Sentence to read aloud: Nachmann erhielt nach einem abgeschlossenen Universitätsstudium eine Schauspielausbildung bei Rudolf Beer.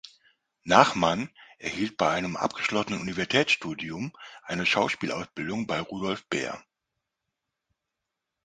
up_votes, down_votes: 0, 2